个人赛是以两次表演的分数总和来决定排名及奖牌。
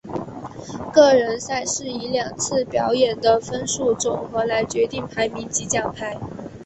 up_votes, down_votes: 2, 0